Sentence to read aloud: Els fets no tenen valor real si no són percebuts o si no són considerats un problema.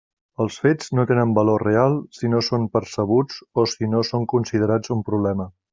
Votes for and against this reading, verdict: 3, 0, accepted